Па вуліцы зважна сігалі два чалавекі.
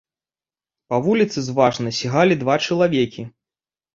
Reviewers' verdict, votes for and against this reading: accepted, 2, 0